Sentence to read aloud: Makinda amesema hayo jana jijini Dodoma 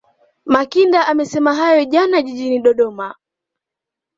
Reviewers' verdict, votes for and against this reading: accepted, 2, 0